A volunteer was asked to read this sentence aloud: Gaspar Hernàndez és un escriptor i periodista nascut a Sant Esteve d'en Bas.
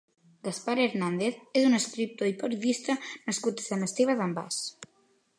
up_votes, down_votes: 3, 2